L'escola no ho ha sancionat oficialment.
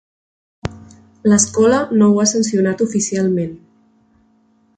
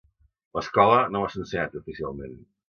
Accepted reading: first